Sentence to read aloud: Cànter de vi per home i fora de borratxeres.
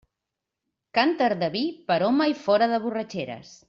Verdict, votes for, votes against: accepted, 2, 0